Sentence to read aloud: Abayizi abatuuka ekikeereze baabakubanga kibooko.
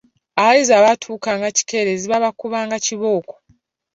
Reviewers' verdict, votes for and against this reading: rejected, 1, 3